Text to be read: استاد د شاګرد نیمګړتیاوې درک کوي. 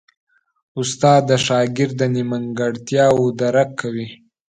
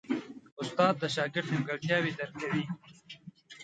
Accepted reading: first